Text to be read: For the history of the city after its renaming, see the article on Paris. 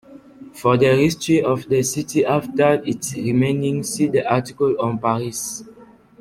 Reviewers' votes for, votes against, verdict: 0, 2, rejected